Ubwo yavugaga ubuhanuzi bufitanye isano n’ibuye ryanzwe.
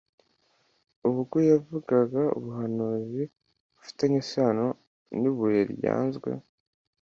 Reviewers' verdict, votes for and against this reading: accepted, 2, 0